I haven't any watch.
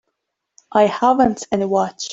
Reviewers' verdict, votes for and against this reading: accepted, 2, 1